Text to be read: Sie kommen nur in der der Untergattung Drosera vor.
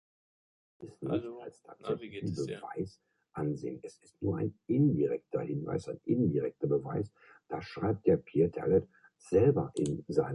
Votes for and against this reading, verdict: 0, 2, rejected